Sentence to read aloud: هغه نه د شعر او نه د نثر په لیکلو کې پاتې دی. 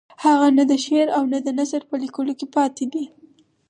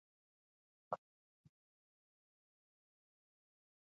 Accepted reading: first